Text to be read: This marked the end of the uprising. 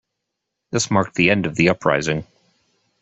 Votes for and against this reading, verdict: 2, 0, accepted